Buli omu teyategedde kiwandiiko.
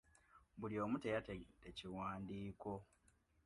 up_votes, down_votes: 2, 0